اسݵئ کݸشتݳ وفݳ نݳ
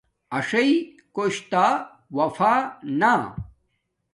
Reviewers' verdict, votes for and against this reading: rejected, 1, 2